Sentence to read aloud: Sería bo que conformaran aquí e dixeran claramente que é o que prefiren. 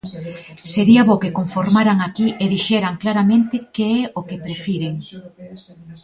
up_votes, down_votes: 2, 1